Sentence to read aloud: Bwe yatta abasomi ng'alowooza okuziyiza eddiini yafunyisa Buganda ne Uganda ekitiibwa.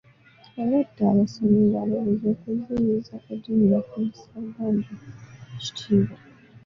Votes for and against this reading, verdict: 0, 2, rejected